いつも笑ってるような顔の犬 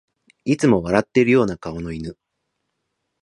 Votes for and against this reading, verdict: 2, 0, accepted